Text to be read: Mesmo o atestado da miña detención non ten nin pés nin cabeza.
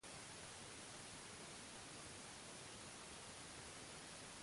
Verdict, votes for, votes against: rejected, 0, 4